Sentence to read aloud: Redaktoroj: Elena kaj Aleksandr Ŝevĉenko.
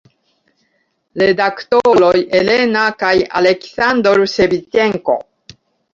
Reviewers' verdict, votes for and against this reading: rejected, 1, 2